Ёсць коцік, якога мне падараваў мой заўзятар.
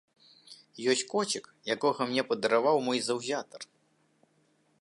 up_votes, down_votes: 2, 0